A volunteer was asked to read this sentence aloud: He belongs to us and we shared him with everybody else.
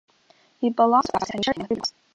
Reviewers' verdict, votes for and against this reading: rejected, 1, 3